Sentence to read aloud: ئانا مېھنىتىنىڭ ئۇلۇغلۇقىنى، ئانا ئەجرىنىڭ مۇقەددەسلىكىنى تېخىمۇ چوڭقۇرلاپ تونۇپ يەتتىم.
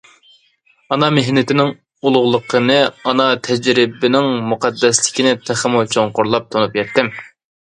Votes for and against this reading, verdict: 0, 2, rejected